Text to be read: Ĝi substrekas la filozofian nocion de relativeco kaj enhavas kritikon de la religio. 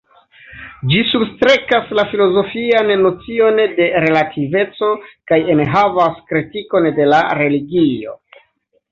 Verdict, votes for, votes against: rejected, 0, 2